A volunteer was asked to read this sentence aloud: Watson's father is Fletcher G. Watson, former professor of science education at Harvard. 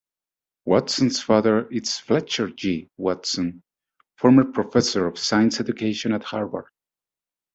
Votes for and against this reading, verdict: 2, 0, accepted